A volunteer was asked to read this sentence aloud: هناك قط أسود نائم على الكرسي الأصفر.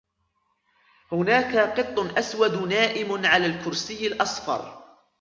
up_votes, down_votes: 2, 1